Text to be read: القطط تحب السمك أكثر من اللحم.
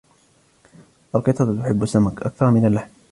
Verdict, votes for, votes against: accepted, 2, 0